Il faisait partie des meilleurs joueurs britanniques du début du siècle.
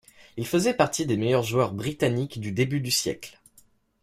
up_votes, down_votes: 2, 0